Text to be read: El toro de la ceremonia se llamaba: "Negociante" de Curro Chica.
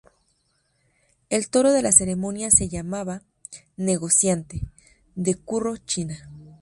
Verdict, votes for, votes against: rejected, 0, 2